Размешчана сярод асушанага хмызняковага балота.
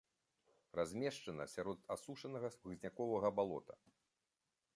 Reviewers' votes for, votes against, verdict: 2, 1, accepted